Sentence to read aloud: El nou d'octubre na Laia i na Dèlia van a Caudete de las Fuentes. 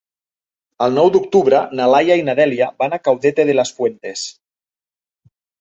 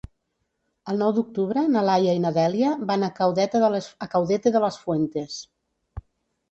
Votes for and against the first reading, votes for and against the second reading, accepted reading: 2, 0, 1, 2, first